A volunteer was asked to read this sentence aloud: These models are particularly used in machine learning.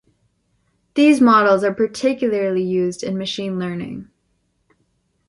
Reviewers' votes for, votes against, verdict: 2, 0, accepted